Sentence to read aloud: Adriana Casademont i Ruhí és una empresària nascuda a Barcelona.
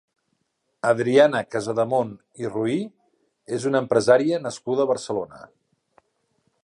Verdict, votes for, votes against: accepted, 2, 0